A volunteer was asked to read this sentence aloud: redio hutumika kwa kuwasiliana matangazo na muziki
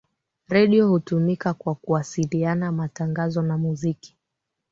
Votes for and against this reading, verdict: 2, 0, accepted